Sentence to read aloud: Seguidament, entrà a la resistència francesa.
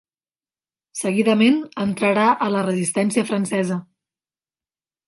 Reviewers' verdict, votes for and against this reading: rejected, 1, 2